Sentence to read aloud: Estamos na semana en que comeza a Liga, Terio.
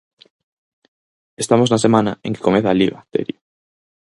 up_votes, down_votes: 4, 0